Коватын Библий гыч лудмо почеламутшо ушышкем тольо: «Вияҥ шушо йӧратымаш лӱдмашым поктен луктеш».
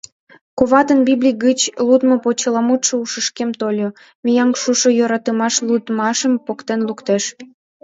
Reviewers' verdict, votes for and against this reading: rejected, 1, 2